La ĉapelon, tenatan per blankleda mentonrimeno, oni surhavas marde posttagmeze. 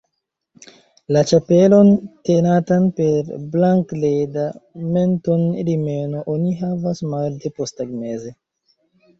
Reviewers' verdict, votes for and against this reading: rejected, 0, 3